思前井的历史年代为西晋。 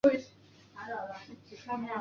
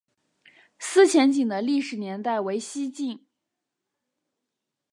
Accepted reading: second